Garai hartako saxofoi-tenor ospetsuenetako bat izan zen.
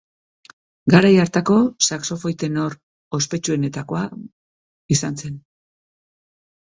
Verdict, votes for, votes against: rejected, 0, 3